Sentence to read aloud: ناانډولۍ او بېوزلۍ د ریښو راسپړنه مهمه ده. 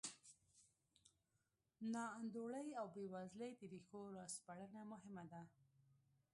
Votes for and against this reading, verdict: 1, 2, rejected